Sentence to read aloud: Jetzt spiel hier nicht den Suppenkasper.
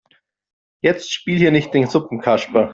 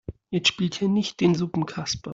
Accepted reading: first